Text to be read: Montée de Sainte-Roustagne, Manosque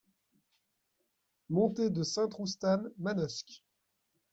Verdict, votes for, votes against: rejected, 0, 2